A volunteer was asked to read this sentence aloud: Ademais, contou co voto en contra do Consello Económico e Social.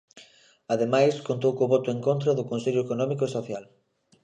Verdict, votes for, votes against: accepted, 2, 0